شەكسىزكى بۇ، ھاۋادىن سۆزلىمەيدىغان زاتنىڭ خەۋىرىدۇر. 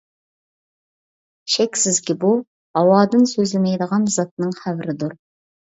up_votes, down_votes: 2, 0